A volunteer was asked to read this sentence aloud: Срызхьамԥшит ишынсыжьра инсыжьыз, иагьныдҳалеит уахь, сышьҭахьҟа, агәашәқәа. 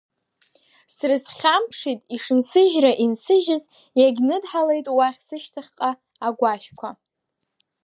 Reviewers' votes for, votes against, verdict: 2, 1, accepted